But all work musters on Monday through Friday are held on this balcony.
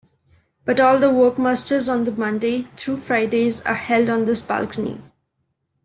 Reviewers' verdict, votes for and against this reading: rejected, 0, 2